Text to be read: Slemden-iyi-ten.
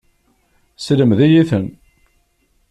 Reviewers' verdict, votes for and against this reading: rejected, 1, 2